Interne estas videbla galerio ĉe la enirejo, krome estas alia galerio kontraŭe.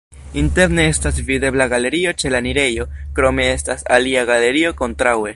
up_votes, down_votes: 1, 2